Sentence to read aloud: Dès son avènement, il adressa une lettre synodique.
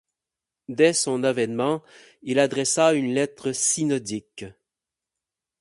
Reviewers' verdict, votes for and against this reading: accepted, 8, 0